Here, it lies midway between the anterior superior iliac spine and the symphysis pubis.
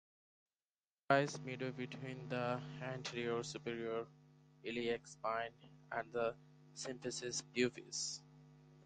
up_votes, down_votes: 2, 4